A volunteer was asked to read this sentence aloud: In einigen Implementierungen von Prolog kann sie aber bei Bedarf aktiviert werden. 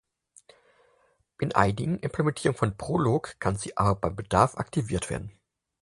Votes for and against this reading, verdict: 0, 4, rejected